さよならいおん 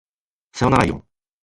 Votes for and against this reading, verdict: 1, 2, rejected